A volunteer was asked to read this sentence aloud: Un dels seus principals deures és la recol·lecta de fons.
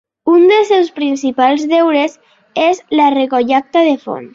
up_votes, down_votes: 0, 2